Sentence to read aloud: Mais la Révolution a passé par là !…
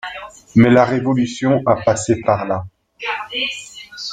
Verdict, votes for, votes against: accepted, 2, 1